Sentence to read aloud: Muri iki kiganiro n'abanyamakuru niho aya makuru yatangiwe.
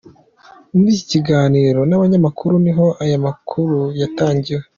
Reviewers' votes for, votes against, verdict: 2, 0, accepted